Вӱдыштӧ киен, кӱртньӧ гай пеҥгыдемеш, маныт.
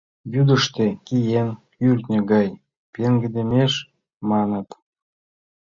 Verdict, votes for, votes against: rejected, 1, 2